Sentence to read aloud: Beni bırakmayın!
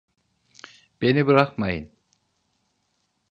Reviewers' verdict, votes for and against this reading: accepted, 2, 0